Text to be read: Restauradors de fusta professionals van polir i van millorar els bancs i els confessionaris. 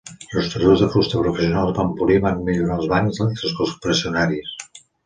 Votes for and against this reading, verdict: 0, 2, rejected